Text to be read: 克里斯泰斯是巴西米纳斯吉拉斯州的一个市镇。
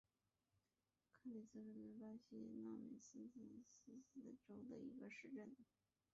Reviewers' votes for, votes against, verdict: 0, 2, rejected